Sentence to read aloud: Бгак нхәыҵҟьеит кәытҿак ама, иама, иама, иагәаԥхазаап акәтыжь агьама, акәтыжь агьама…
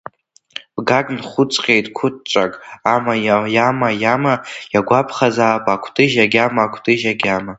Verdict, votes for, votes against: rejected, 0, 2